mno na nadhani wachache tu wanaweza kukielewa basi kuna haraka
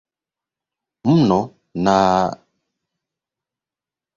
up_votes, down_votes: 0, 2